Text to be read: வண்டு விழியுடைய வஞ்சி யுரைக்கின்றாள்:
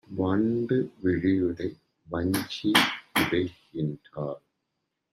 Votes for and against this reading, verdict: 1, 2, rejected